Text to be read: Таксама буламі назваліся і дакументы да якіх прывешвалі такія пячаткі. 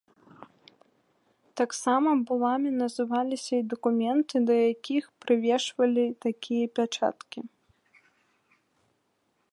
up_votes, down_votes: 2, 3